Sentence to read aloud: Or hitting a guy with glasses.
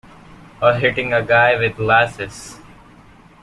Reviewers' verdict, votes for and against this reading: accepted, 2, 0